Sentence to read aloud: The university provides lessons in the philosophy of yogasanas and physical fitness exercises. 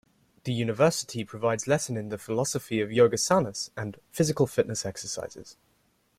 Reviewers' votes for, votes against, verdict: 1, 2, rejected